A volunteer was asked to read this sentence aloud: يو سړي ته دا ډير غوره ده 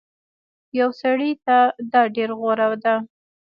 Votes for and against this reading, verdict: 1, 2, rejected